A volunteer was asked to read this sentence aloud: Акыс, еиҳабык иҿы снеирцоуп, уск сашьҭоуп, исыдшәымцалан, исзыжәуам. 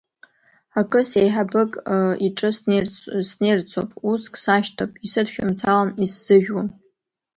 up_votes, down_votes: 2, 1